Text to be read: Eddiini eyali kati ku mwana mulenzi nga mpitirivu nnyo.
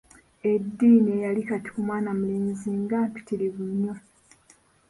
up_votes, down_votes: 2, 1